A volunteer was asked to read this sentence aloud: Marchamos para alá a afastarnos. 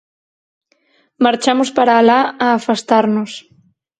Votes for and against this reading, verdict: 4, 0, accepted